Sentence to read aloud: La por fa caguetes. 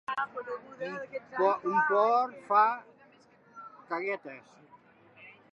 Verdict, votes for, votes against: rejected, 0, 2